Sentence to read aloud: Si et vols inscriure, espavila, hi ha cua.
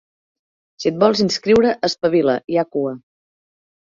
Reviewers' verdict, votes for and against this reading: accepted, 2, 0